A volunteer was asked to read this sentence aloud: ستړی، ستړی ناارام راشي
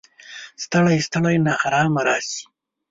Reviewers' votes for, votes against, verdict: 1, 2, rejected